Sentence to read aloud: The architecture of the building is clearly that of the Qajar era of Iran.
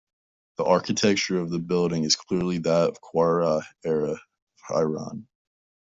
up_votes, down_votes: 0, 2